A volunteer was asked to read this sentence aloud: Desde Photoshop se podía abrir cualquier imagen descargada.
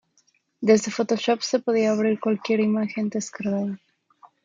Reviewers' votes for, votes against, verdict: 2, 0, accepted